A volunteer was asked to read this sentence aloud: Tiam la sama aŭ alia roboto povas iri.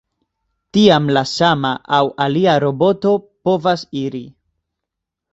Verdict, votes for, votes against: accepted, 2, 0